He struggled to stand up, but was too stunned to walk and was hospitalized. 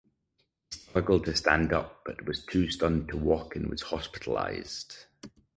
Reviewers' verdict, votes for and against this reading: rejected, 0, 4